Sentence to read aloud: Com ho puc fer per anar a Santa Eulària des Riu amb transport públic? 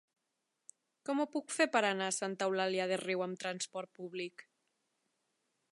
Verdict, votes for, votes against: rejected, 1, 2